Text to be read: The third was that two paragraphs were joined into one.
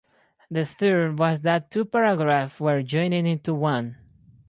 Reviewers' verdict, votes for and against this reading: rejected, 0, 2